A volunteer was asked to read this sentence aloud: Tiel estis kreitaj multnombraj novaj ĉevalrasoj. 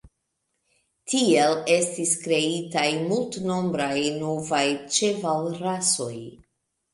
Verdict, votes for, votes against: accepted, 2, 1